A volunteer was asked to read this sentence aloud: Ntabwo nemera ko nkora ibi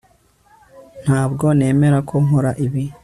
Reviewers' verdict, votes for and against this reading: accepted, 3, 0